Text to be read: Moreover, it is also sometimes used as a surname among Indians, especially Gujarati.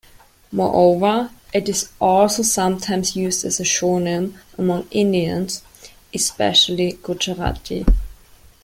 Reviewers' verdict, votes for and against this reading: rejected, 1, 2